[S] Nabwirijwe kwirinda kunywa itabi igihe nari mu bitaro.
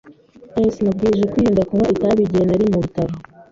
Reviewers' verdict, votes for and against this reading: rejected, 1, 2